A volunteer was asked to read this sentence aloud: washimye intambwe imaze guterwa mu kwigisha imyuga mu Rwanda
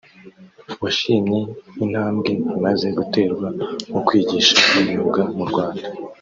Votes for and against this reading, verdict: 2, 0, accepted